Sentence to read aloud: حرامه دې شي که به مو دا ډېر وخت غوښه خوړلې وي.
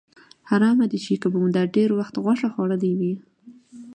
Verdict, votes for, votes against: accepted, 2, 0